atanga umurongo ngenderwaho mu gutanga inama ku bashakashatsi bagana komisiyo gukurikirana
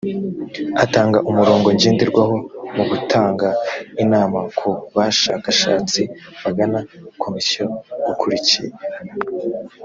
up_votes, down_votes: 0, 2